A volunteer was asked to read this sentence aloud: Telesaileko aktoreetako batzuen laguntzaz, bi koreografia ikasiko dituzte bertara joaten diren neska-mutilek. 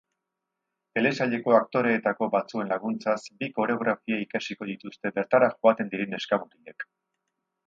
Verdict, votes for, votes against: accepted, 2, 0